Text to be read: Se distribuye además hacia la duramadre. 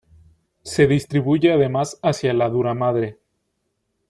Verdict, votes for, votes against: accepted, 2, 0